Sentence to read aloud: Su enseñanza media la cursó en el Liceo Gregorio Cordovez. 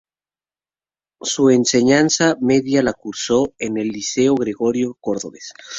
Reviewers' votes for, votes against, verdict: 2, 0, accepted